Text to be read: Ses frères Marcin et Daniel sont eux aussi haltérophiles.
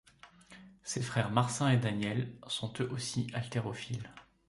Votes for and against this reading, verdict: 2, 0, accepted